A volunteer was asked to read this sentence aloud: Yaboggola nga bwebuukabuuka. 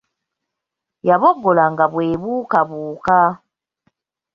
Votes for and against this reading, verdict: 2, 0, accepted